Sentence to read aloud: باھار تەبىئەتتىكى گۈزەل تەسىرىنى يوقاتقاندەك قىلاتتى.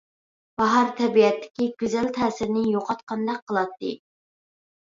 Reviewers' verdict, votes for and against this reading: accepted, 2, 0